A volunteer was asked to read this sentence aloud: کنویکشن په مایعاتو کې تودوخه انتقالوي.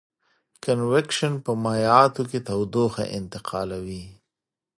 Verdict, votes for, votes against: accepted, 2, 0